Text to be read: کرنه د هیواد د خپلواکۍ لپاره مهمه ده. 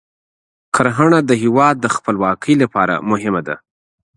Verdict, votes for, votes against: accepted, 2, 1